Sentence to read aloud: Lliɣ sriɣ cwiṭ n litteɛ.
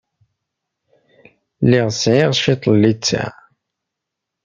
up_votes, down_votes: 0, 2